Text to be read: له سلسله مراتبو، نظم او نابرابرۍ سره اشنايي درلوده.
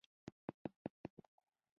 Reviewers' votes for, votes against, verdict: 0, 2, rejected